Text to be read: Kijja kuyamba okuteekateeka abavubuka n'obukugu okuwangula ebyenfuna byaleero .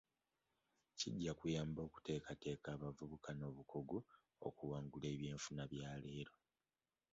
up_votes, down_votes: 0, 2